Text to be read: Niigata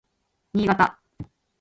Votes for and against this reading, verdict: 2, 0, accepted